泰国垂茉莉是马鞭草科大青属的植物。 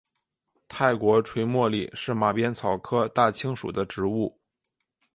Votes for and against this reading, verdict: 3, 0, accepted